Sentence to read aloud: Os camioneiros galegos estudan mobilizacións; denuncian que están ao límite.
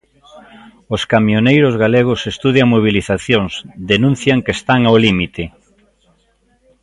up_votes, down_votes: 1, 2